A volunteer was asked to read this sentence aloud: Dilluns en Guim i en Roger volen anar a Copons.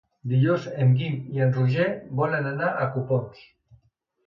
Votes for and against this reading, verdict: 2, 1, accepted